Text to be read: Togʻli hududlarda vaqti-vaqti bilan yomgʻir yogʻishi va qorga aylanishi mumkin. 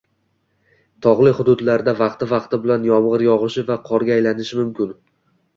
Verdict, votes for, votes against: accepted, 2, 0